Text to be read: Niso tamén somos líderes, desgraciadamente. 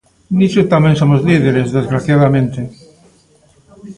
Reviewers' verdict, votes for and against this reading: rejected, 1, 2